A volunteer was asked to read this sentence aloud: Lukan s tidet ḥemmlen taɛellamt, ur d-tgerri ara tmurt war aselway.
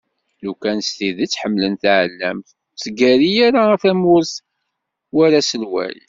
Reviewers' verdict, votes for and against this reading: rejected, 1, 2